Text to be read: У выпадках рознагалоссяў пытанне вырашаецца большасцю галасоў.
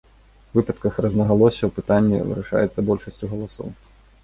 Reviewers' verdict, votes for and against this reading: rejected, 1, 2